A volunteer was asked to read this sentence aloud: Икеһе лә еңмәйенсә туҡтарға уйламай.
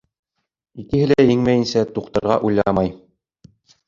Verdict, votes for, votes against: rejected, 1, 2